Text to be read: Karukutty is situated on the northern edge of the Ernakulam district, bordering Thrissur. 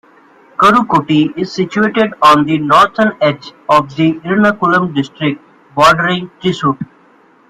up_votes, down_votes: 2, 1